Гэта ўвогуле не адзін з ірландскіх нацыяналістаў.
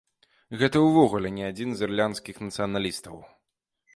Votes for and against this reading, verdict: 1, 2, rejected